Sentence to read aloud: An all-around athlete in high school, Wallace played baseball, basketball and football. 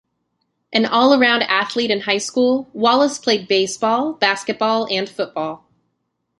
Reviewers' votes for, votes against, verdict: 2, 0, accepted